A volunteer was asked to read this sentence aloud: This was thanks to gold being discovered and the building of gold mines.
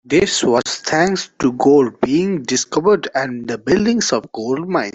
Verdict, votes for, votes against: rejected, 0, 2